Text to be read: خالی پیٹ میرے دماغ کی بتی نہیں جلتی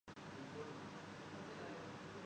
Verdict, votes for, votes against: rejected, 0, 2